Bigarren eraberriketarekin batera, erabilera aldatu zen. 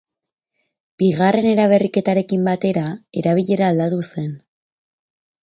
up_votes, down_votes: 4, 0